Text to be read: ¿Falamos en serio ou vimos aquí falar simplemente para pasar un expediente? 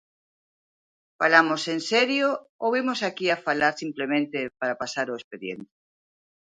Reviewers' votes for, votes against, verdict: 0, 3, rejected